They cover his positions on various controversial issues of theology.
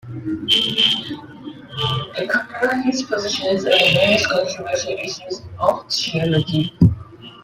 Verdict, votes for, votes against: accepted, 2, 1